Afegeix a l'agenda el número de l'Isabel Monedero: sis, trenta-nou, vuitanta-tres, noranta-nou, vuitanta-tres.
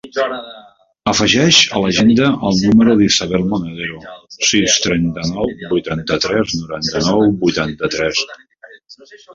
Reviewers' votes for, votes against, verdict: 1, 2, rejected